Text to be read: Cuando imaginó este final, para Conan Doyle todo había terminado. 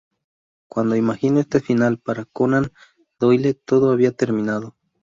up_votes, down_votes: 2, 2